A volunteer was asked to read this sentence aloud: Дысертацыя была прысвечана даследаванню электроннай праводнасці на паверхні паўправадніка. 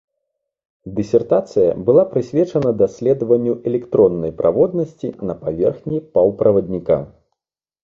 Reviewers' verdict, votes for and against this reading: accepted, 2, 0